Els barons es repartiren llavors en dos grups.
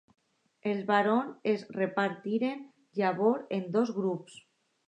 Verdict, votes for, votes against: accepted, 2, 0